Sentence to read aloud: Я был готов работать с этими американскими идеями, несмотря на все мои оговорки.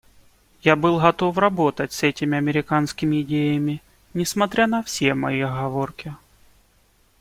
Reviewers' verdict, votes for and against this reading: accepted, 2, 0